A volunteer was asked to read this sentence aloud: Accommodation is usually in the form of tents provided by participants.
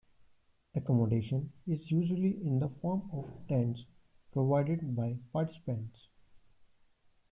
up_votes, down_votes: 2, 0